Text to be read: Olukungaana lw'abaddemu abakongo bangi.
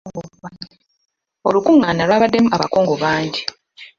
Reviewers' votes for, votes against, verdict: 0, 2, rejected